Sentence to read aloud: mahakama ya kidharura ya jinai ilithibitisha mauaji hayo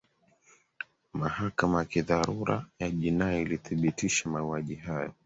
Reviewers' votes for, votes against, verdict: 2, 0, accepted